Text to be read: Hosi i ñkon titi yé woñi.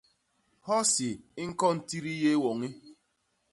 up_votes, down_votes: 2, 0